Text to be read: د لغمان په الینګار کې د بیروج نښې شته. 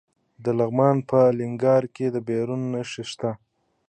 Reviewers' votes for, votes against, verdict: 0, 2, rejected